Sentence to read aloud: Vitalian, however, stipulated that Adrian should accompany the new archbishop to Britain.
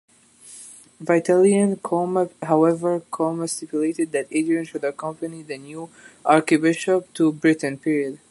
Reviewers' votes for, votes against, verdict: 1, 2, rejected